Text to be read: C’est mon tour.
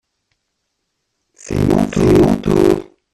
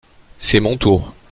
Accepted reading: second